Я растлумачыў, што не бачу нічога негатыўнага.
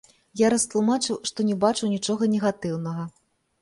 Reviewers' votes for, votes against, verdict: 2, 0, accepted